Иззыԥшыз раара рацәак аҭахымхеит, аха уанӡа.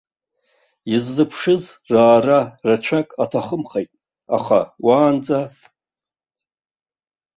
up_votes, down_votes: 1, 2